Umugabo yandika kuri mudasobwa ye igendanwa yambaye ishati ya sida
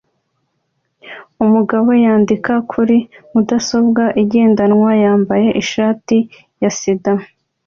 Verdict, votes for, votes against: accepted, 2, 0